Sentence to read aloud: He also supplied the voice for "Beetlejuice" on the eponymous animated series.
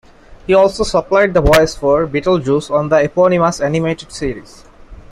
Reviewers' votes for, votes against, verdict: 0, 2, rejected